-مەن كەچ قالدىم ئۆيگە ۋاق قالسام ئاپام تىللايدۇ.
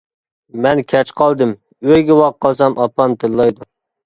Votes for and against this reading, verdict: 2, 0, accepted